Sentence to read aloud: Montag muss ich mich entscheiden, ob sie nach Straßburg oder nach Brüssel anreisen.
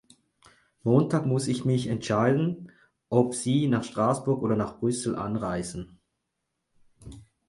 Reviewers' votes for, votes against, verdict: 6, 0, accepted